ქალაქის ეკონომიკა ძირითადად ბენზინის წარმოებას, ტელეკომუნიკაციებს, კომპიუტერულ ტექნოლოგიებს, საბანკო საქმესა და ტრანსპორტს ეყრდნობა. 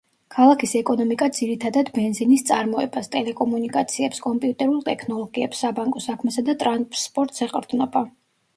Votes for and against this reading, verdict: 0, 2, rejected